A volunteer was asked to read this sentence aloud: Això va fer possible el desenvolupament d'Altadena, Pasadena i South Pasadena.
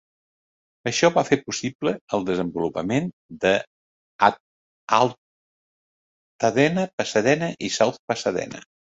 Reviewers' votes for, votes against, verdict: 0, 2, rejected